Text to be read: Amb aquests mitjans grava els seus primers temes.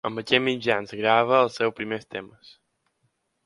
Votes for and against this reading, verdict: 2, 1, accepted